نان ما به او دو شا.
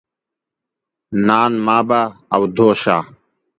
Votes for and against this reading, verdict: 2, 0, accepted